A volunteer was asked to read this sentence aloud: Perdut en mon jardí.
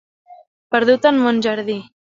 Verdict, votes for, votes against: accepted, 2, 0